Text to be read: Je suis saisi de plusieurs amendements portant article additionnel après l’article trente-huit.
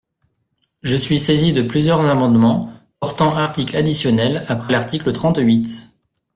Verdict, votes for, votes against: accepted, 2, 0